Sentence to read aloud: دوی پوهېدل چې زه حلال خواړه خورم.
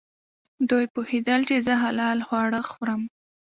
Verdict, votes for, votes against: accepted, 2, 1